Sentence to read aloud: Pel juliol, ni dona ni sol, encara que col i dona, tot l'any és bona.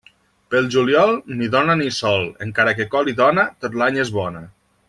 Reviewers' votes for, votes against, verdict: 2, 0, accepted